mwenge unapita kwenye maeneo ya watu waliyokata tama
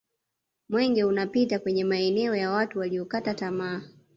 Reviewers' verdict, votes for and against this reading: accepted, 2, 0